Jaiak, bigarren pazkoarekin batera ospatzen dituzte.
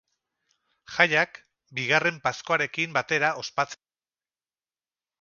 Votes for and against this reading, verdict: 2, 8, rejected